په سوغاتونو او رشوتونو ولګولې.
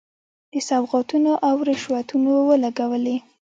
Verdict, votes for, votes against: accepted, 2, 1